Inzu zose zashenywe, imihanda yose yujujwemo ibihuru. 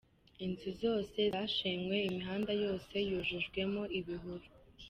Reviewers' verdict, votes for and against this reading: rejected, 1, 2